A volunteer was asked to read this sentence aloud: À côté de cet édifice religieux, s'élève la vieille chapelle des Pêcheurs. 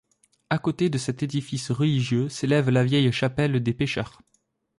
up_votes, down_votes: 2, 0